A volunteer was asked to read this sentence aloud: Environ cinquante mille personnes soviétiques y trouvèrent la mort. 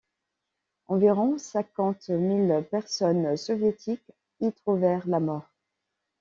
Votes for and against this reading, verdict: 2, 0, accepted